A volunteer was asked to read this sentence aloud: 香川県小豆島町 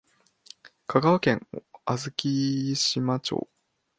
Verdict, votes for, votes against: accepted, 2, 0